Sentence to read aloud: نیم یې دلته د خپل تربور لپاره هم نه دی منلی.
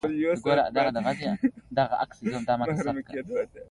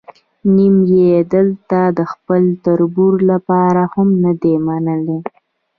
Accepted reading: second